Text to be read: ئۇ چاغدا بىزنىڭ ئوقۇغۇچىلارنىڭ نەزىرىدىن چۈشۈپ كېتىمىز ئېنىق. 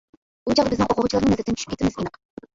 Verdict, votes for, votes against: rejected, 0, 2